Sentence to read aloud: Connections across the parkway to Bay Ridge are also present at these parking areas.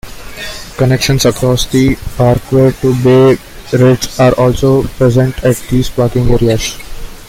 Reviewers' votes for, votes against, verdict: 2, 0, accepted